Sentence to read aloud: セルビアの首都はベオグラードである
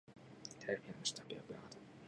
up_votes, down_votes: 0, 2